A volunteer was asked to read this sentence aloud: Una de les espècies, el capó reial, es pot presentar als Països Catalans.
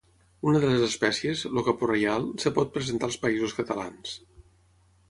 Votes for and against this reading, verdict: 0, 3, rejected